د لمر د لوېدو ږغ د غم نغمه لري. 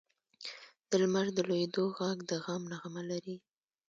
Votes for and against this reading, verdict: 1, 2, rejected